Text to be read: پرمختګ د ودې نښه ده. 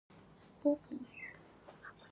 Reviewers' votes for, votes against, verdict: 1, 2, rejected